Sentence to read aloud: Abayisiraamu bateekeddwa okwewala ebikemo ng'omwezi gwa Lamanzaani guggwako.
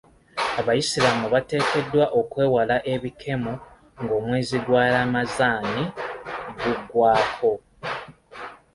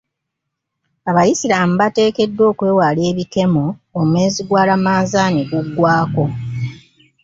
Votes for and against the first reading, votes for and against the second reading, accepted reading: 2, 0, 1, 2, first